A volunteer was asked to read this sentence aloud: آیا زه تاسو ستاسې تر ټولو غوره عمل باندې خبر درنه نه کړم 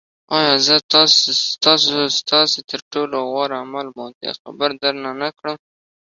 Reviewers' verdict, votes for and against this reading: rejected, 0, 2